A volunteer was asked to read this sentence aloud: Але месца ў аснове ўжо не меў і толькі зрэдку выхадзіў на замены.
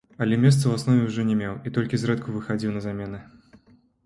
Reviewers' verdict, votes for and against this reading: rejected, 1, 2